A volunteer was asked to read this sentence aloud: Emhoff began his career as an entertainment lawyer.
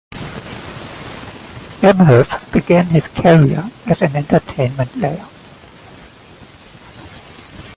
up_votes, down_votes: 1, 2